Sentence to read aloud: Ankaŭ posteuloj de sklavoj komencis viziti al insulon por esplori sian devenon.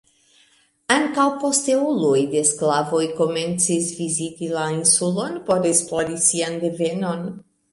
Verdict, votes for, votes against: rejected, 1, 2